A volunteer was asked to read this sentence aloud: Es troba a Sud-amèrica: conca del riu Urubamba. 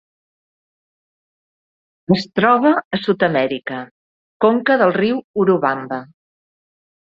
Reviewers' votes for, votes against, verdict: 2, 0, accepted